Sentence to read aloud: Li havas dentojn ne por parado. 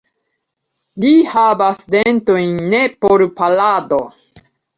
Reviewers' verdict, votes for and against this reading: accepted, 3, 2